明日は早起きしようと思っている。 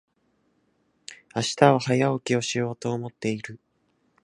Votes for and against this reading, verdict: 0, 2, rejected